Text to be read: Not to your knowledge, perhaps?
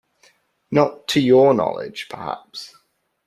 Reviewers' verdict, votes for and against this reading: accepted, 2, 0